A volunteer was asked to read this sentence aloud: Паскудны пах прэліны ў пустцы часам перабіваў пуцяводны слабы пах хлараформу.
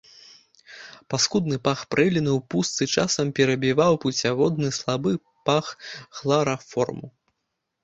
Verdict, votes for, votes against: rejected, 0, 2